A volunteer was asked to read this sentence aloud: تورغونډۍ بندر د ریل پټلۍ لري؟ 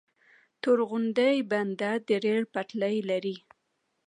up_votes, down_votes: 2, 0